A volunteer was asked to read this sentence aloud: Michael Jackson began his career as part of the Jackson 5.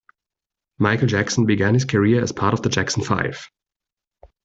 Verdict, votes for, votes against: rejected, 0, 2